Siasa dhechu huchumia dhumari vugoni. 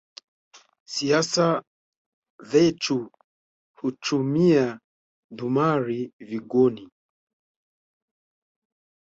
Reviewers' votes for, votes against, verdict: 2, 1, accepted